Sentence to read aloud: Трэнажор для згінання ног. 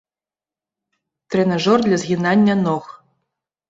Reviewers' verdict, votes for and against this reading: accepted, 2, 0